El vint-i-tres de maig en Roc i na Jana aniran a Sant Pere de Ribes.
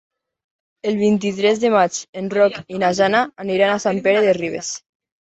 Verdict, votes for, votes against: rejected, 1, 2